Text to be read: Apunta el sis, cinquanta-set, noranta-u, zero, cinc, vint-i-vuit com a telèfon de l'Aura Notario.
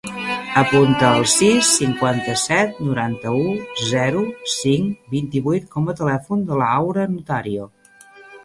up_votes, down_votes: 1, 2